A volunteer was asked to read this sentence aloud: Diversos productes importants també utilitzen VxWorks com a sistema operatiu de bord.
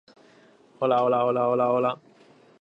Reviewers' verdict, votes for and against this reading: rejected, 1, 2